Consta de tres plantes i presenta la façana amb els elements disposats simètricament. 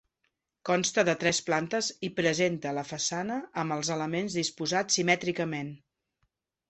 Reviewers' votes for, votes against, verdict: 2, 0, accepted